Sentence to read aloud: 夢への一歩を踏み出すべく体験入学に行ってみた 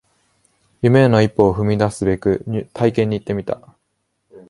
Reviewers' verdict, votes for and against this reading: rejected, 1, 3